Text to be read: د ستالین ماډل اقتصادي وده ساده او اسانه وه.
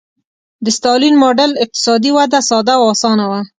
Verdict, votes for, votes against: accepted, 2, 0